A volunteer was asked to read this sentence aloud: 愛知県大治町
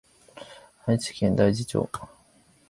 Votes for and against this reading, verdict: 1, 2, rejected